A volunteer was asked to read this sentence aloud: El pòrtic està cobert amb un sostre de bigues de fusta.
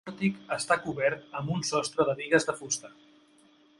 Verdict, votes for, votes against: rejected, 1, 2